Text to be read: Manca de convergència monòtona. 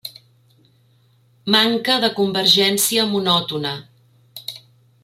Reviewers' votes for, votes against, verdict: 3, 0, accepted